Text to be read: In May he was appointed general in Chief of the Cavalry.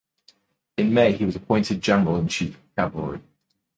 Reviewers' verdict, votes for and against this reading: rejected, 1, 2